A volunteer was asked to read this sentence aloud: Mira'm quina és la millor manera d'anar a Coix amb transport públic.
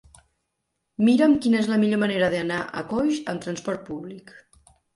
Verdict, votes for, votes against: accepted, 2, 0